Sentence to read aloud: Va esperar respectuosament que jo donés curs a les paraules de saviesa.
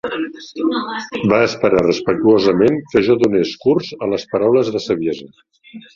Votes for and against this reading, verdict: 2, 0, accepted